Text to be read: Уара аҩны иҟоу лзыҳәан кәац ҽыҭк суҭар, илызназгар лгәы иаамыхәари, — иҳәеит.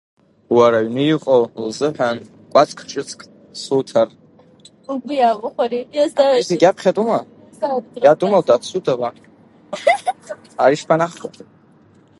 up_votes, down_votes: 0, 2